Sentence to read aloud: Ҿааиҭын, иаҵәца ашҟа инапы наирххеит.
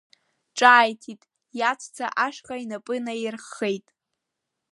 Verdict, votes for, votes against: rejected, 1, 2